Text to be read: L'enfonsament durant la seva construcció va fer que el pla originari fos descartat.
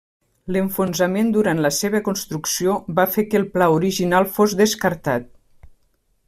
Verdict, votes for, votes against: rejected, 0, 2